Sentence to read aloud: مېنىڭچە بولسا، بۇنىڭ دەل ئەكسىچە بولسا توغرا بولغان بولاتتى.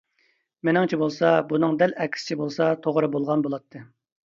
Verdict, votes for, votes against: accepted, 2, 0